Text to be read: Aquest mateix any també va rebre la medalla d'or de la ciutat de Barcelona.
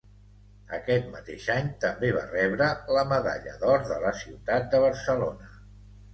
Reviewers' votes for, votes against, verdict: 2, 0, accepted